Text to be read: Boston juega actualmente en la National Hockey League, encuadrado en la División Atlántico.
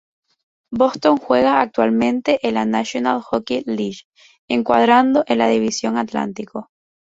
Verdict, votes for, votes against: accepted, 4, 0